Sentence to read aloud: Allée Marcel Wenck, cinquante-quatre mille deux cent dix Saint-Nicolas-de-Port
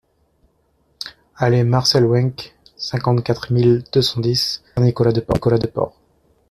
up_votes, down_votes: 0, 2